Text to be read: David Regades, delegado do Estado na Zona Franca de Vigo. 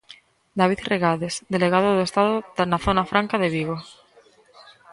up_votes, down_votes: 0, 2